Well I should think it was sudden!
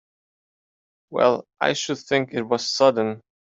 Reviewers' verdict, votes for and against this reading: accepted, 3, 0